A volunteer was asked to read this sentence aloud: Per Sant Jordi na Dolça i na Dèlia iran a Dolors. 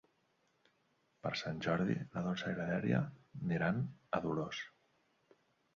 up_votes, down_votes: 2, 1